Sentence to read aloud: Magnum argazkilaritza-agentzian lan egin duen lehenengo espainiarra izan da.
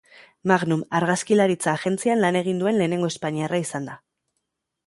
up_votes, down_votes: 2, 0